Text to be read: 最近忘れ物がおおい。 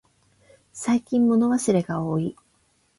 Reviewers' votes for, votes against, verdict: 8, 0, accepted